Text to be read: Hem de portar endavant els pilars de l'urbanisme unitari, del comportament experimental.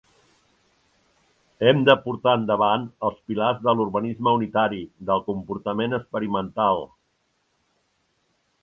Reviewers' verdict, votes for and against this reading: accepted, 3, 0